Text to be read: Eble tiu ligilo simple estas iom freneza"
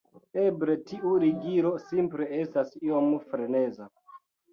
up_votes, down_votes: 2, 3